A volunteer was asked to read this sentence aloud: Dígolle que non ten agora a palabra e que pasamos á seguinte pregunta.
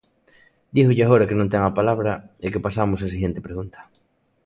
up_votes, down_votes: 0, 2